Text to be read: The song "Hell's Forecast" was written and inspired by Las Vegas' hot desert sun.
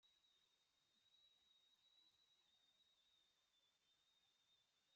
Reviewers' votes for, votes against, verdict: 0, 2, rejected